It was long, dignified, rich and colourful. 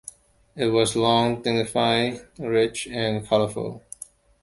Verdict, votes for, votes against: accepted, 2, 1